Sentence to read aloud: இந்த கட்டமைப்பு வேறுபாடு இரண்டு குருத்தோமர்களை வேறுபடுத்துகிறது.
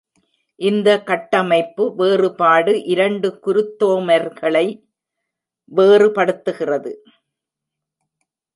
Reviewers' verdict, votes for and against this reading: rejected, 1, 2